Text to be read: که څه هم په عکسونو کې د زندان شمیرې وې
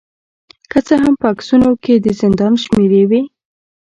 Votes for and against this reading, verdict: 2, 0, accepted